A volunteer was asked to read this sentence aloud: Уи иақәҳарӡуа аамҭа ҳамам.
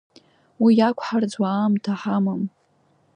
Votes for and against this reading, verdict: 3, 0, accepted